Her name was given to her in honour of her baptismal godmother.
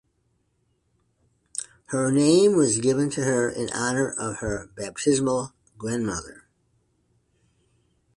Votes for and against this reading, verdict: 1, 2, rejected